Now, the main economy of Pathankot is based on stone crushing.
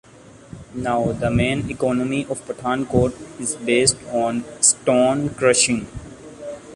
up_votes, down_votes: 0, 2